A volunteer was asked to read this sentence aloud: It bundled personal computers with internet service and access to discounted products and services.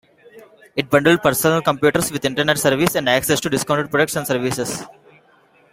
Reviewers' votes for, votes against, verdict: 2, 1, accepted